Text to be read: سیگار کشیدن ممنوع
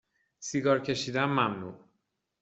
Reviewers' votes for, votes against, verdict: 2, 0, accepted